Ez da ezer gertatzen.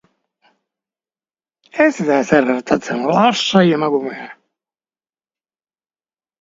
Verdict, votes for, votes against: rejected, 0, 2